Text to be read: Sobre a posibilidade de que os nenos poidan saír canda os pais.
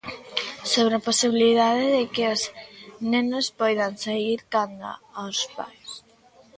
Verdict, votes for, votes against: accepted, 2, 1